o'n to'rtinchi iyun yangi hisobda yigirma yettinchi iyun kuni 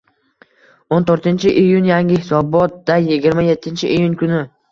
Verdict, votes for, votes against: rejected, 1, 2